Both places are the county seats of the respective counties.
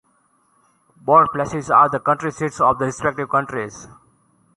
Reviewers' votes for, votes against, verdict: 1, 2, rejected